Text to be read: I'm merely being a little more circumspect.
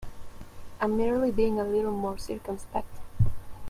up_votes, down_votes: 1, 2